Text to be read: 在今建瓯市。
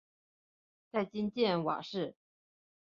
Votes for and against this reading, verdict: 3, 0, accepted